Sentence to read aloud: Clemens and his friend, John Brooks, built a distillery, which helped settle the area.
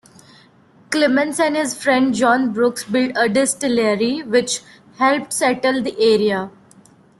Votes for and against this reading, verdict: 2, 0, accepted